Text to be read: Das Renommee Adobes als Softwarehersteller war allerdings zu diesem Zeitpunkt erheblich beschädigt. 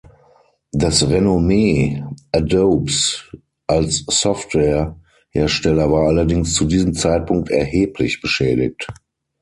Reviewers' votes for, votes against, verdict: 6, 0, accepted